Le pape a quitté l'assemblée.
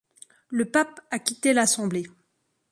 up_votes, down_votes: 2, 0